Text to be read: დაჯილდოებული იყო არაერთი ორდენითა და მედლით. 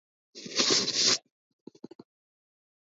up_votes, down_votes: 0, 2